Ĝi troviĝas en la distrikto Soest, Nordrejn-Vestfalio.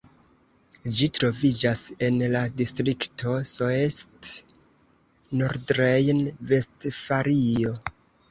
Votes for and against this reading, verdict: 0, 2, rejected